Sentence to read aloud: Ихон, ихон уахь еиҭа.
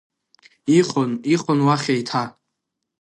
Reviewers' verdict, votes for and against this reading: rejected, 1, 2